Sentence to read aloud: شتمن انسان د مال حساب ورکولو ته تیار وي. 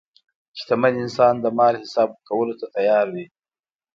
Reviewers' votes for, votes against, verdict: 2, 0, accepted